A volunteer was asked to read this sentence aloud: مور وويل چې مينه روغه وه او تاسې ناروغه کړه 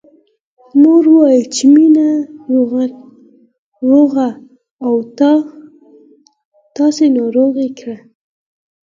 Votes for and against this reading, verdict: 2, 4, rejected